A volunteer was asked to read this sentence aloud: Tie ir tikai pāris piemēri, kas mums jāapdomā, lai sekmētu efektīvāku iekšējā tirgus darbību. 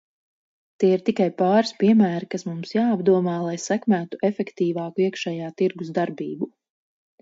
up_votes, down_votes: 4, 0